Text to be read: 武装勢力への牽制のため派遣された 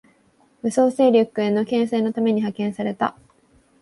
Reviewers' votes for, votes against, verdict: 2, 1, accepted